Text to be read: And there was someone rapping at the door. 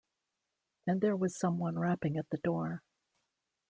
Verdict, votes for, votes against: accepted, 2, 0